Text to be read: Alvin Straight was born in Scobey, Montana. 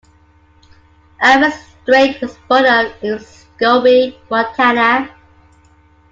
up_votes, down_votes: 2, 0